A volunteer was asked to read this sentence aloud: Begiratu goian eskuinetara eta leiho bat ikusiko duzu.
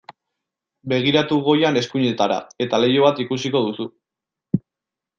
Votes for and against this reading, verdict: 2, 0, accepted